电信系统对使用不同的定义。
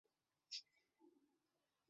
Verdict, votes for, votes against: accepted, 2, 0